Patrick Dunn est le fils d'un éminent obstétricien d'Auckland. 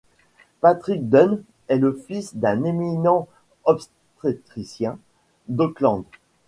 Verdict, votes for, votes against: rejected, 1, 2